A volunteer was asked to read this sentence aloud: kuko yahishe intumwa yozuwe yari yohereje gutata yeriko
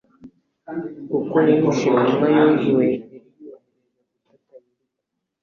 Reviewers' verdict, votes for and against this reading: rejected, 1, 2